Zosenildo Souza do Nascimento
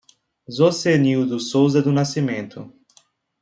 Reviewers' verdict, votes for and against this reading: accepted, 2, 0